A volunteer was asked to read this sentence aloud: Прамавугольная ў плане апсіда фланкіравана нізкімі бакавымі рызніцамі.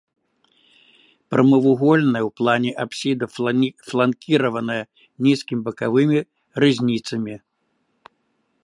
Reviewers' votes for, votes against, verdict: 0, 2, rejected